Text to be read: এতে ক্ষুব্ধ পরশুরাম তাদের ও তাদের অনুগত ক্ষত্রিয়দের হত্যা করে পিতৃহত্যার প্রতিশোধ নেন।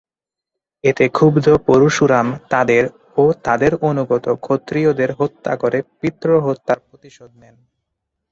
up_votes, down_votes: 0, 2